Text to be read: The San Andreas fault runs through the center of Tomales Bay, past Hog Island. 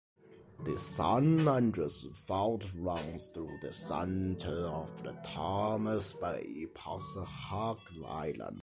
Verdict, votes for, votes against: rejected, 0, 2